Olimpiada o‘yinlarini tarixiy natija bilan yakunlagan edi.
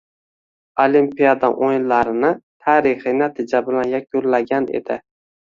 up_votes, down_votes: 2, 0